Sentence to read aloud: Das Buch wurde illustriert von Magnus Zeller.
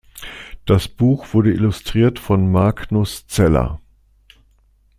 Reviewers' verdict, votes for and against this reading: accepted, 2, 0